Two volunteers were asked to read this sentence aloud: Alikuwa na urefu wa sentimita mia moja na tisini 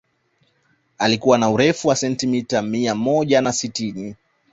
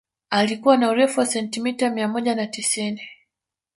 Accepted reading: first